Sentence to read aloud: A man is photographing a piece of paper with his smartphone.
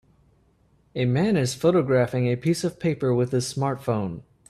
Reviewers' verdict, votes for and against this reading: accepted, 3, 0